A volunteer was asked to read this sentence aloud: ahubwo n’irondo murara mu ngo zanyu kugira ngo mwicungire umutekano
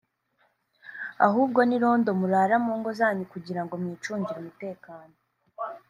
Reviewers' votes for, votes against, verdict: 3, 0, accepted